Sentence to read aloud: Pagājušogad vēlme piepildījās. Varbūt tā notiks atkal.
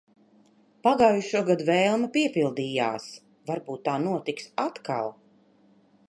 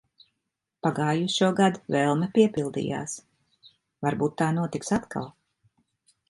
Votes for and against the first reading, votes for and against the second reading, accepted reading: 2, 0, 0, 2, first